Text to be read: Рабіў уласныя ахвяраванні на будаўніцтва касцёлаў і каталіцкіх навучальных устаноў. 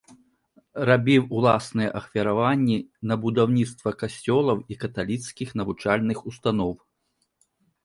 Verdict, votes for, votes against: accepted, 2, 0